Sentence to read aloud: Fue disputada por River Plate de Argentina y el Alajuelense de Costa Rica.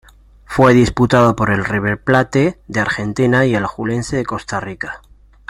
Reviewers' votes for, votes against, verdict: 2, 0, accepted